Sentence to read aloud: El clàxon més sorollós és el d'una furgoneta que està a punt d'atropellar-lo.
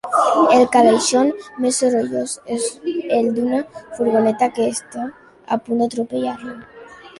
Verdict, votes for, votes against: rejected, 0, 2